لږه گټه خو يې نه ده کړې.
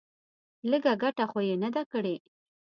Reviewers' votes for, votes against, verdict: 2, 0, accepted